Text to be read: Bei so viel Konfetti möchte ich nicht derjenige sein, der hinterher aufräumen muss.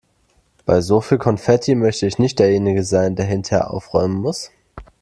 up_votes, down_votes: 2, 0